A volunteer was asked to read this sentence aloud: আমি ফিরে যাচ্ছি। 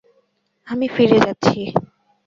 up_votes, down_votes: 2, 0